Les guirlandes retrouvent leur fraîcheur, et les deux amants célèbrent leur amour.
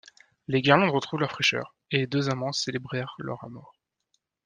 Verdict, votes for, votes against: rejected, 1, 2